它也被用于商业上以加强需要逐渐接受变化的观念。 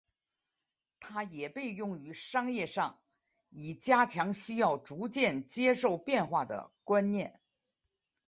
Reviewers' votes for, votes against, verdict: 2, 1, accepted